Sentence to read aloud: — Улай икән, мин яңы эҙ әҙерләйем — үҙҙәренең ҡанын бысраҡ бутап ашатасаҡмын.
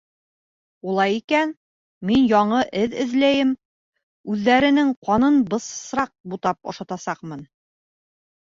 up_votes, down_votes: 1, 2